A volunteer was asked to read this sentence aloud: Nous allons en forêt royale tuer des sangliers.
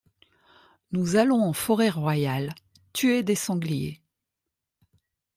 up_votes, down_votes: 2, 0